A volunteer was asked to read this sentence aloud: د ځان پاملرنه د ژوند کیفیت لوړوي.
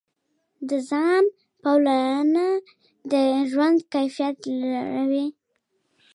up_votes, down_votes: 2, 0